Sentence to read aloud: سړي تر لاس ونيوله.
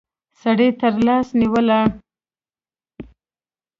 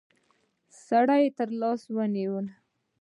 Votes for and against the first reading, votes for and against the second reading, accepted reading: 0, 2, 2, 0, second